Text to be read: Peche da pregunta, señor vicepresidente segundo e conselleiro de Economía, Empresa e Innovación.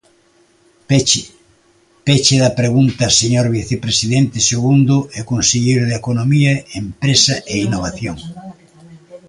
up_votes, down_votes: 0, 2